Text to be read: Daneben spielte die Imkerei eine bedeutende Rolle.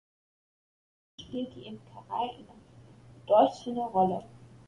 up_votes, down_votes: 0, 2